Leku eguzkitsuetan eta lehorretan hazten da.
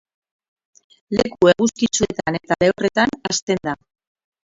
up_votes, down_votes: 0, 4